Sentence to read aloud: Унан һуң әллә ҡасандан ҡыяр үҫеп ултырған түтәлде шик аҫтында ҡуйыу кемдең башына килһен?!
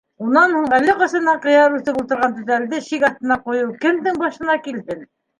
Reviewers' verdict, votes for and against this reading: rejected, 1, 2